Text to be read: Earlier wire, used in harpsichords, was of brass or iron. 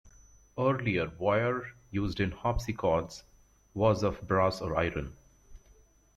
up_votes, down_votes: 2, 1